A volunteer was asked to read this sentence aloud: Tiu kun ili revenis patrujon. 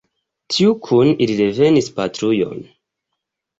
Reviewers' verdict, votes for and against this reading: accepted, 5, 3